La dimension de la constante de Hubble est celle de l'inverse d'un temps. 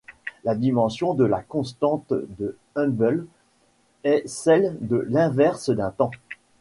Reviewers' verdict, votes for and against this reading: rejected, 2, 3